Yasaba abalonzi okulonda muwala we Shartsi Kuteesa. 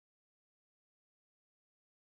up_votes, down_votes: 0, 2